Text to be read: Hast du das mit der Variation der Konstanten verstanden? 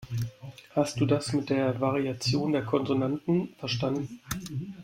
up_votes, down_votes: 0, 2